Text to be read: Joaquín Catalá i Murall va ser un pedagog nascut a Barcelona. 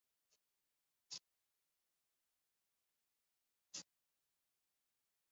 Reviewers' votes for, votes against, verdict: 0, 2, rejected